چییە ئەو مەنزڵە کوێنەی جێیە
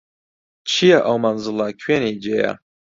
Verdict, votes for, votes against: accepted, 2, 0